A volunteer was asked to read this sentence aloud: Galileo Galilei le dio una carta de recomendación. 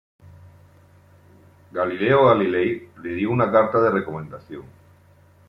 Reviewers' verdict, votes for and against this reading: accepted, 2, 0